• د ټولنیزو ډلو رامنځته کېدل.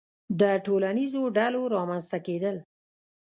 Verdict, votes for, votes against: rejected, 1, 2